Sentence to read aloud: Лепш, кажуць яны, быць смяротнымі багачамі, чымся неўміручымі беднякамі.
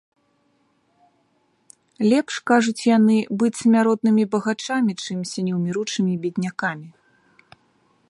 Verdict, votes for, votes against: accepted, 2, 0